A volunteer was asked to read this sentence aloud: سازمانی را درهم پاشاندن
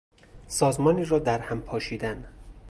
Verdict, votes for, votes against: rejected, 0, 2